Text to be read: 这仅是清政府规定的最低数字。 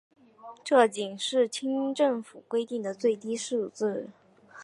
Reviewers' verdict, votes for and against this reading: accepted, 4, 2